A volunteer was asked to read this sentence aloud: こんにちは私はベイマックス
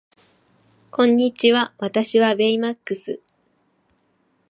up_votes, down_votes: 2, 0